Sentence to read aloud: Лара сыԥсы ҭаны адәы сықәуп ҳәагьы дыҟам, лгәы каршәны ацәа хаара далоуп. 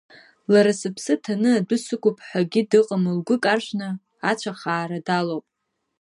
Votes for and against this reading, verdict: 1, 2, rejected